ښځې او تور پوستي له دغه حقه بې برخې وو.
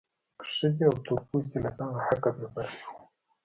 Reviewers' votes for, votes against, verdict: 1, 2, rejected